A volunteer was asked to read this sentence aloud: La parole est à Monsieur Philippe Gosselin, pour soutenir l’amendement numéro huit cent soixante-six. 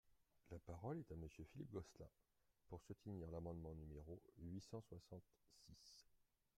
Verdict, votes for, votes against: accepted, 2, 0